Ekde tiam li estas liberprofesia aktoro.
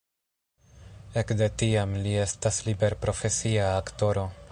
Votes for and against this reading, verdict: 2, 0, accepted